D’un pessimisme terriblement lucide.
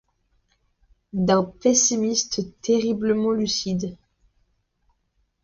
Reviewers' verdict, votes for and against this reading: accepted, 2, 1